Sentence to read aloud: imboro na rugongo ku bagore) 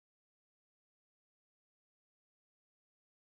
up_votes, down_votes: 0, 2